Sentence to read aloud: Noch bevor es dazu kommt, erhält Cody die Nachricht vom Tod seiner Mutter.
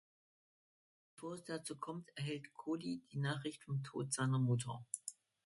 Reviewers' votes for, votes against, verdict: 0, 2, rejected